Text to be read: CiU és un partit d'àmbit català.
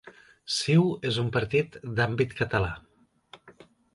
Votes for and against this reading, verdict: 2, 0, accepted